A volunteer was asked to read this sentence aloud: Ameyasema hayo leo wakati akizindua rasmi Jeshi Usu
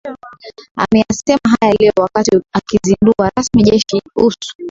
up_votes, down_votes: 0, 2